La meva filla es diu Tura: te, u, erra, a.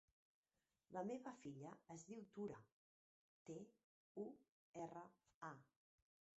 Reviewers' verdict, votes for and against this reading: rejected, 0, 2